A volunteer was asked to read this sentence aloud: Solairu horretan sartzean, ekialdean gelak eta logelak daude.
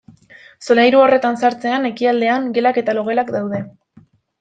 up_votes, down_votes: 2, 0